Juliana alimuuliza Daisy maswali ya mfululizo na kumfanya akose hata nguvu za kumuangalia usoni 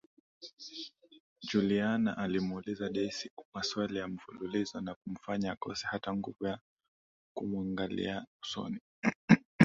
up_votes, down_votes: 2, 0